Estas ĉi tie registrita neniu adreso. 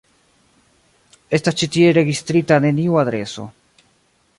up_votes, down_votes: 0, 2